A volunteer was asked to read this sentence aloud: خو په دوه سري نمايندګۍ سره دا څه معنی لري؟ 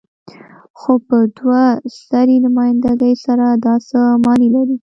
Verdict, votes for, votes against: rejected, 1, 2